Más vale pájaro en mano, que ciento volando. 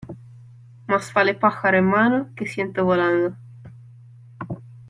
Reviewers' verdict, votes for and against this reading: accepted, 2, 0